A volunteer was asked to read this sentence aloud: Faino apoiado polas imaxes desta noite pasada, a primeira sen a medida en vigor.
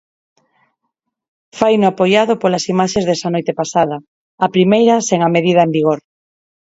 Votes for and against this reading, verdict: 2, 4, rejected